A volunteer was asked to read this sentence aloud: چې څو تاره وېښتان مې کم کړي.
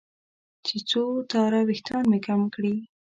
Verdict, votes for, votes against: rejected, 1, 2